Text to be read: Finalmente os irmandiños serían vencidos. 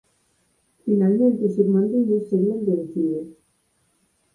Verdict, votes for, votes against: accepted, 4, 0